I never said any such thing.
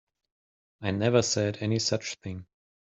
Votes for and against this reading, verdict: 3, 0, accepted